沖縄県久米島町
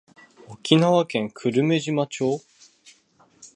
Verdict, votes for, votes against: rejected, 2, 3